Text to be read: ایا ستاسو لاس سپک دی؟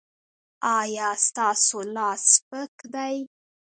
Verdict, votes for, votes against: accepted, 2, 1